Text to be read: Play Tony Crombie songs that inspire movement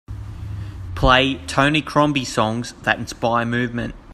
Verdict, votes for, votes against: accepted, 3, 0